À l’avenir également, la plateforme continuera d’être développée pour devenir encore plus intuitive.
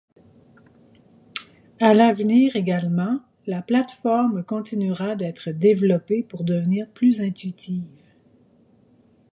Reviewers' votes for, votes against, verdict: 2, 4, rejected